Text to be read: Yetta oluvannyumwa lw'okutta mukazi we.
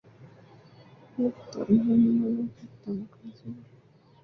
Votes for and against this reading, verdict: 0, 2, rejected